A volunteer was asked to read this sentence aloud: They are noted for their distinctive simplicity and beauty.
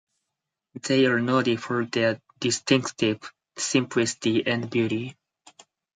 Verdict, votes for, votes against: rejected, 2, 4